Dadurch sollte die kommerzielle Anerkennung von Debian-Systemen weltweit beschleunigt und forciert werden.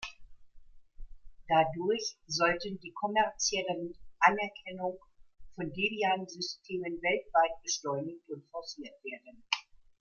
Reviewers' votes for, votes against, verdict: 2, 1, accepted